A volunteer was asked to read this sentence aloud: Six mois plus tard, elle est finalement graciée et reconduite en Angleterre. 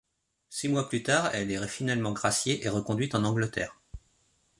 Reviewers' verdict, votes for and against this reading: rejected, 0, 2